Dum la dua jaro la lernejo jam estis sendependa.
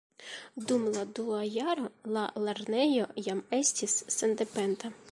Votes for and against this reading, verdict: 3, 1, accepted